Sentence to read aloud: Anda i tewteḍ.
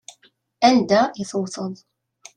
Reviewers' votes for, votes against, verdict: 2, 0, accepted